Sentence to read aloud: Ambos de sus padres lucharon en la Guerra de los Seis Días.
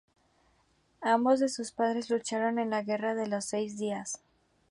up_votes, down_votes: 2, 0